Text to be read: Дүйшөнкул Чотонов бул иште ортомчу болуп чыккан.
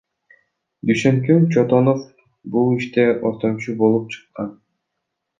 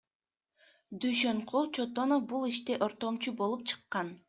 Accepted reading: second